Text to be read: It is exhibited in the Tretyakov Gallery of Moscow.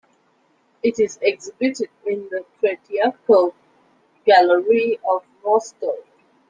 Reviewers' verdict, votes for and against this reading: rejected, 1, 2